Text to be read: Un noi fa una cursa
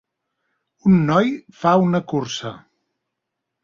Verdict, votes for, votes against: accepted, 3, 0